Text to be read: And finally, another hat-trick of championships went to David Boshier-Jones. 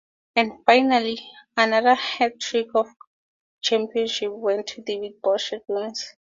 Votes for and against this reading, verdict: 2, 4, rejected